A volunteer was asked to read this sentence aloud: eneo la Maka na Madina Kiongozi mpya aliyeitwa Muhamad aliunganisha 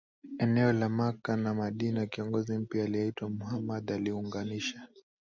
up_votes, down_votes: 2, 0